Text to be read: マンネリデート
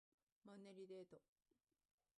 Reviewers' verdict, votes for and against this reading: rejected, 0, 2